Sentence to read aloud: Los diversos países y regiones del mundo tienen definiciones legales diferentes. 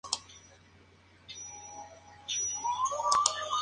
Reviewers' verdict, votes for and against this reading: rejected, 0, 4